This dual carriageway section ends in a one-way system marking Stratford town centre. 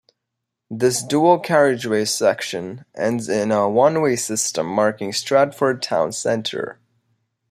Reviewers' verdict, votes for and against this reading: accepted, 2, 0